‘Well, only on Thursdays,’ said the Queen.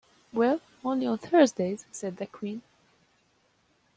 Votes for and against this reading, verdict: 2, 0, accepted